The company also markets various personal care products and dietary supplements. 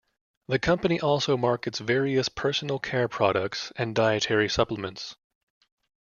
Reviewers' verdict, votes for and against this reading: accepted, 2, 0